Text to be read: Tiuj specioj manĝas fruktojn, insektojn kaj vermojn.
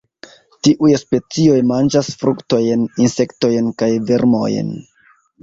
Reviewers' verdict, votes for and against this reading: rejected, 1, 2